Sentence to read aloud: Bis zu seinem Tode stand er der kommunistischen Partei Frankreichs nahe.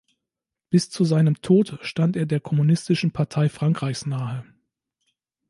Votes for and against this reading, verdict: 0, 2, rejected